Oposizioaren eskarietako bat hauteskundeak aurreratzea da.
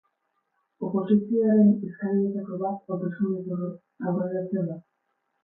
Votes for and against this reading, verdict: 0, 6, rejected